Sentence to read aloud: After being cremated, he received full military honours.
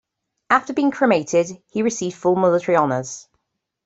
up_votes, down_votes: 1, 2